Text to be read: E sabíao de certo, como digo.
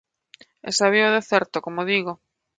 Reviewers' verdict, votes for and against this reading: accepted, 2, 0